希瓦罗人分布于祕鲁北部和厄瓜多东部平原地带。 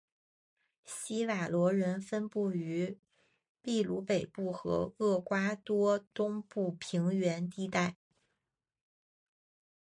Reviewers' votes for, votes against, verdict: 3, 1, accepted